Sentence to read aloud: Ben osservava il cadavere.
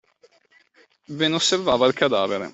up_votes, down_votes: 2, 0